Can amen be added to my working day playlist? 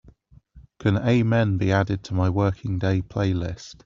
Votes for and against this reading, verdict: 3, 1, accepted